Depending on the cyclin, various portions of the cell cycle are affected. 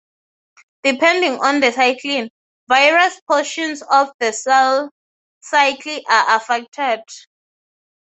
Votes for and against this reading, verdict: 3, 0, accepted